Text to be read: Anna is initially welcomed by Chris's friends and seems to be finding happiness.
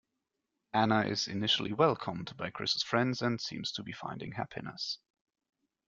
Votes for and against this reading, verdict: 2, 0, accepted